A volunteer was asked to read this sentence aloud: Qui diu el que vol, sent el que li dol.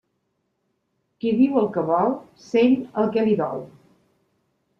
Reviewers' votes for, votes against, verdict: 2, 0, accepted